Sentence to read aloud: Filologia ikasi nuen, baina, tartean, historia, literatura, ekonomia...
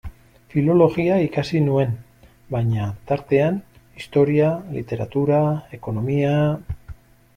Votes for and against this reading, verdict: 2, 0, accepted